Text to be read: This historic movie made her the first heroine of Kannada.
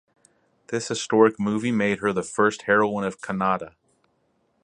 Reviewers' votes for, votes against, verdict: 4, 0, accepted